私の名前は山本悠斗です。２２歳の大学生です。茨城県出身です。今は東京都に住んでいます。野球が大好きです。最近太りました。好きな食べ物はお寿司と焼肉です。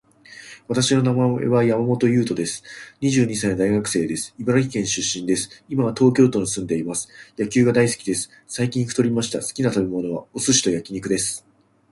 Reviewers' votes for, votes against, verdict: 0, 2, rejected